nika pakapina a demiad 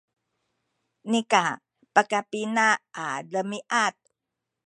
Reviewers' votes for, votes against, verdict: 0, 2, rejected